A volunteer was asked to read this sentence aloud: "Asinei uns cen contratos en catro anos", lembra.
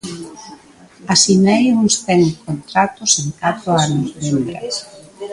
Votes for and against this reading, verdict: 1, 2, rejected